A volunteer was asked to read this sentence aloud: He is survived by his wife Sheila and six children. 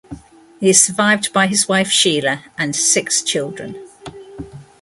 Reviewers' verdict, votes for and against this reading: rejected, 1, 2